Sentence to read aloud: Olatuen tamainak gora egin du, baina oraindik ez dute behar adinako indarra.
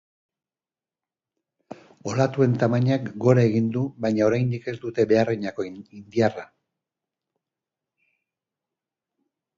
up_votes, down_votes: 2, 2